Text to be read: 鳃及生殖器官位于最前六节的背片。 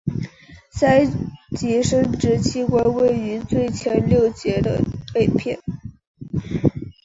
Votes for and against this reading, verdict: 3, 0, accepted